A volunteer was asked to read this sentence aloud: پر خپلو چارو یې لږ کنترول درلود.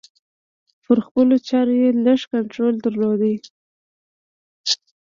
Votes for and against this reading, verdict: 0, 2, rejected